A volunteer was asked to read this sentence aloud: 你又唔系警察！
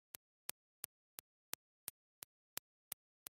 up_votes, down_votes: 0, 2